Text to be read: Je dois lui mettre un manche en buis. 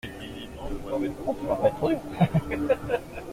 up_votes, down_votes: 0, 2